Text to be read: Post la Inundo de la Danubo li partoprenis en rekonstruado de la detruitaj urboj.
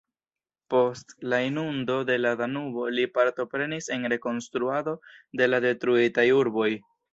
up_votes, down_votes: 1, 2